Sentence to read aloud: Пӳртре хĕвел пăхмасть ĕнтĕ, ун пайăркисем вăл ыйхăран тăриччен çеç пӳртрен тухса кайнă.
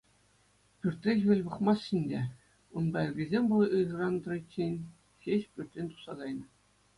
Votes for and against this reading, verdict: 2, 0, accepted